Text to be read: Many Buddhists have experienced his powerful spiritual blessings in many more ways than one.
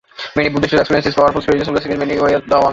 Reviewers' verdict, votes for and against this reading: rejected, 0, 2